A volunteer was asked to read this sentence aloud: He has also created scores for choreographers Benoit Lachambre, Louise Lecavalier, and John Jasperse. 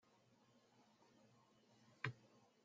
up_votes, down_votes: 0, 2